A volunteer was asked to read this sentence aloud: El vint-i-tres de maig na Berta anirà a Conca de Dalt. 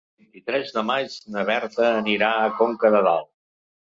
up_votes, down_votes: 1, 3